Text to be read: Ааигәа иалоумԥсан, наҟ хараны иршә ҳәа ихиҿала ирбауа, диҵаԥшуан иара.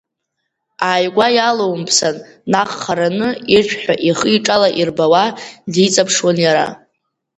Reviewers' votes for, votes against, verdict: 3, 1, accepted